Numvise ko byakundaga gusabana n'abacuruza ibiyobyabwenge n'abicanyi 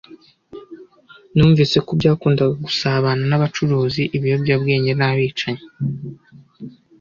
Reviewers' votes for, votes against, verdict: 1, 2, rejected